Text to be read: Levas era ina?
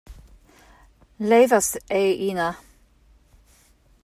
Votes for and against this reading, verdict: 0, 2, rejected